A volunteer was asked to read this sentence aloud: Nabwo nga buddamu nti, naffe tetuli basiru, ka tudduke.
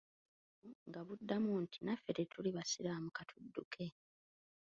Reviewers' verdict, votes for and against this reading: rejected, 1, 3